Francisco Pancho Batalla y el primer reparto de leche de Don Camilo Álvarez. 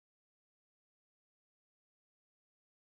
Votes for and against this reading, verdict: 0, 2, rejected